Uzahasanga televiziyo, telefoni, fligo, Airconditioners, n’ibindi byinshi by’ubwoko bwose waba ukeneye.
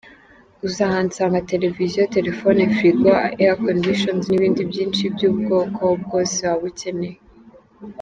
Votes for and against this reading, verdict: 1, 2, rejected